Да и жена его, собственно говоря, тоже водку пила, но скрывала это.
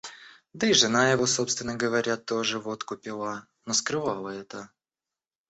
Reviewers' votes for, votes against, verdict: 2, 0, accepted